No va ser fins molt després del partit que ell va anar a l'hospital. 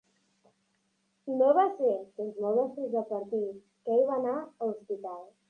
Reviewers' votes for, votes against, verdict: 2, 0, accepted